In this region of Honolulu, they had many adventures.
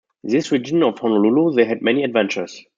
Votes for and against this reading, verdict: 2, 0, accepted